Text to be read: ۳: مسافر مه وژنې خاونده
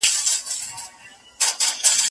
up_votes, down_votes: 0, 2